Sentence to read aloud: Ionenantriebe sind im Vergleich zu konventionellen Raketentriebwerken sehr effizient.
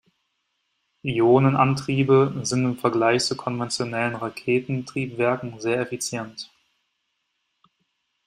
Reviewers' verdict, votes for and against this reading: accepted, 2, 0